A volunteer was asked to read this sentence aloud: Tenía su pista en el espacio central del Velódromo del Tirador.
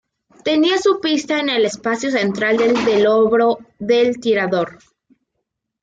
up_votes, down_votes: 0, 2